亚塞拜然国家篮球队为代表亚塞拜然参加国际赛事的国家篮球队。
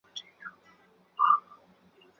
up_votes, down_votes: 0, 2